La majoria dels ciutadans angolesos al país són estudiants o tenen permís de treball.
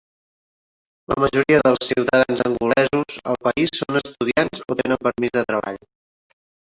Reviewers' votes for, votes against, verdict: 5, 0, accepted